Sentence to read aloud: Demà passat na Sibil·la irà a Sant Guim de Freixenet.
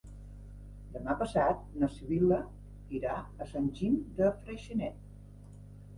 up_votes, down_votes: 1, 2